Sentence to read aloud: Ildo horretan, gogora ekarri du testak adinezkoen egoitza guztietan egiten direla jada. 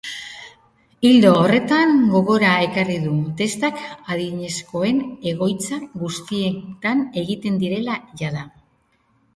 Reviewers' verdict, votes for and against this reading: accepted, 2, 1